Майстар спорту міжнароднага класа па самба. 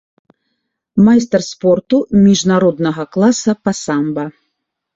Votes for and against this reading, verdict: 2, 0, accepted